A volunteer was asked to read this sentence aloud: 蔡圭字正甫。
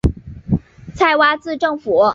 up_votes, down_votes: 2, 1